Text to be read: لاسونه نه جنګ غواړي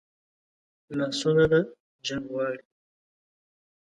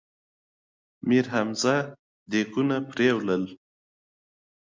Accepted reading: second